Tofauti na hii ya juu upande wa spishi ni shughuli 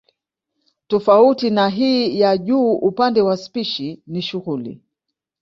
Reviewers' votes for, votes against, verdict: 2, 0, accepted